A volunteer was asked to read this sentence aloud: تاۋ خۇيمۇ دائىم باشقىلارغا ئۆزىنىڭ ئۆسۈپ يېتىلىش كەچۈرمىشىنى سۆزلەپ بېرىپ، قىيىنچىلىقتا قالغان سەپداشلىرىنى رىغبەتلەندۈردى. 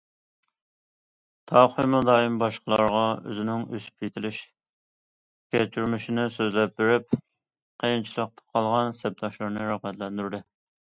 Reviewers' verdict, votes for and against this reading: accepted, 2, 0